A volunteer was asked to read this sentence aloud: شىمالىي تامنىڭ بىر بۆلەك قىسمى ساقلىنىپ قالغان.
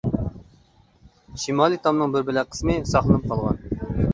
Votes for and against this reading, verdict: 2, 0, accepted